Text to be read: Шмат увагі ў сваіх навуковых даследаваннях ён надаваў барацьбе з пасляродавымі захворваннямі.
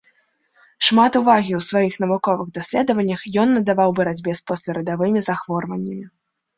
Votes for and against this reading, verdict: 0, 2, rejected